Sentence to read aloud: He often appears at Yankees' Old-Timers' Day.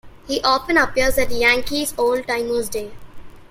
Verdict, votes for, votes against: accepted, 2, 0